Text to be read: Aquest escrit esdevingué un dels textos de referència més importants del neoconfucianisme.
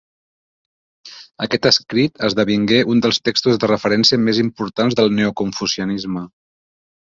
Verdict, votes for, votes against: accepted, 3, 0